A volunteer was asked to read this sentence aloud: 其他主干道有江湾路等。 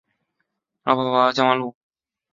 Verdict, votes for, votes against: rejected, 0, 2